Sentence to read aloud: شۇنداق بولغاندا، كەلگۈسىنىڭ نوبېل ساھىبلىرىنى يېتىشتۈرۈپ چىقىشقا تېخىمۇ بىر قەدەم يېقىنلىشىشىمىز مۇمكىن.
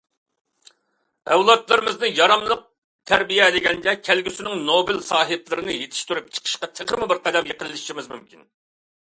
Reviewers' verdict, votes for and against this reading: rejected, 0, 2